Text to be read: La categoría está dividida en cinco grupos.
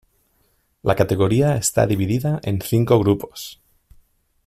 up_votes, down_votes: 2, 0